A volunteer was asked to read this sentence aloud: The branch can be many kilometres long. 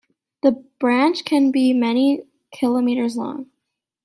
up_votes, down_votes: 3, 0